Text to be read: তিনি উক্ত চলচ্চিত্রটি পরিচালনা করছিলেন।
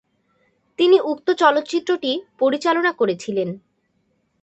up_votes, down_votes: 2, 0